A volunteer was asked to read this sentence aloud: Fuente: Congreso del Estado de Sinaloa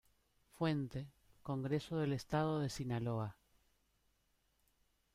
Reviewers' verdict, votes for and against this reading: rejected, 1, 2